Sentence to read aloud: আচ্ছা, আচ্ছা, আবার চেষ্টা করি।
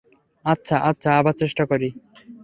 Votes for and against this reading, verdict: 3, 0, accepted